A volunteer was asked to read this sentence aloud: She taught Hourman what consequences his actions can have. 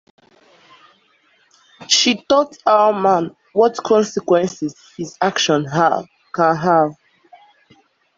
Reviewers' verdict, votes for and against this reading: rejected, 0, 2